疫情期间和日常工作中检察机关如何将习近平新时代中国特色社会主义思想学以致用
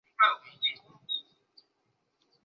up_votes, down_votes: 2, 1